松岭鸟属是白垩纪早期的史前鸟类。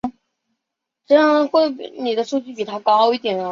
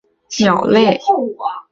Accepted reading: second